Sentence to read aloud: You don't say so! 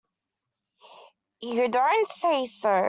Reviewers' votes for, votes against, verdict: 2, 0, accepted